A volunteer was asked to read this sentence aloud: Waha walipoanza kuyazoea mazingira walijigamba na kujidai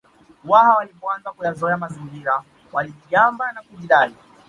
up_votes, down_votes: 1, 2